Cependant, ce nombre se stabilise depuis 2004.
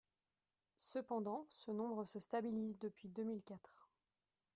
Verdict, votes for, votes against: rejected, 0, 2